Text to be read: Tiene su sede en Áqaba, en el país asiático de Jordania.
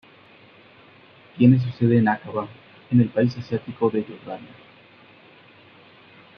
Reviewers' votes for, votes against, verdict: 3, 2, accepted